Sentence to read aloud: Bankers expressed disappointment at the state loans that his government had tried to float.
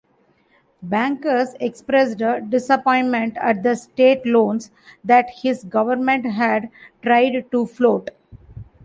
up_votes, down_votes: 2, 0